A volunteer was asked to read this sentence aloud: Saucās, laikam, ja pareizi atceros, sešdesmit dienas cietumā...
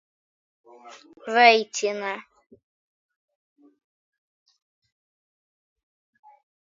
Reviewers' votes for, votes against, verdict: 0, 2, rejected